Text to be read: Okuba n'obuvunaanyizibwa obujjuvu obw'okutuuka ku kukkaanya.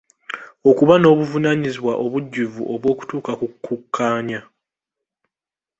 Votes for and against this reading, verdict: 2, 1, accepted